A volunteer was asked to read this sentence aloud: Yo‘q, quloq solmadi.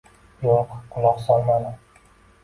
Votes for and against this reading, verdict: 2, 0, accepted